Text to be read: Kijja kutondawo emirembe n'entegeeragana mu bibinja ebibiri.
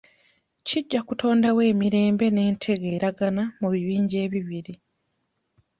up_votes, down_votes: 2, 0